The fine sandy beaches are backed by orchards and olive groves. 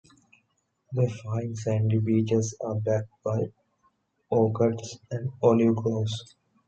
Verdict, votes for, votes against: accepted, 2, 1